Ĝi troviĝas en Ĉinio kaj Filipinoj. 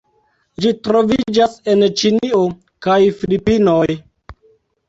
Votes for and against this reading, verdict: 2, 0, accepted